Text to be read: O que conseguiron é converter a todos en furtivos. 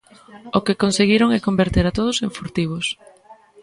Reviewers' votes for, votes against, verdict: 1, 2, rejected